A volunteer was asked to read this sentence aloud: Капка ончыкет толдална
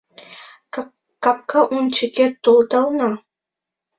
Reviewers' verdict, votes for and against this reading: rejected, 0, 2